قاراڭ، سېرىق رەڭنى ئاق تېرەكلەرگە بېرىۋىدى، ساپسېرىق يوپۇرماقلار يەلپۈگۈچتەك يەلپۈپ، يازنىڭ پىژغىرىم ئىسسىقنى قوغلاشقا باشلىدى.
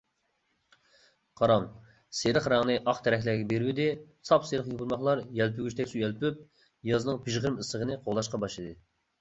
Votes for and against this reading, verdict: 1, 2, rejected